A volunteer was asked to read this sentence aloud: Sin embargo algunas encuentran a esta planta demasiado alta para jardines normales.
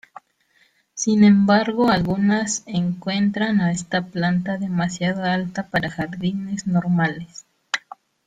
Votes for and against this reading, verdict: 1, 2, rejected